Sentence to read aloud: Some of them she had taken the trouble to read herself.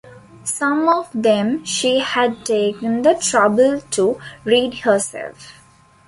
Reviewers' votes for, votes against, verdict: 2, 0, accepted